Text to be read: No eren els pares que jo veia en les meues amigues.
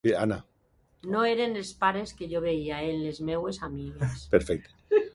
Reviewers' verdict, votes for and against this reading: rejected, 0, 2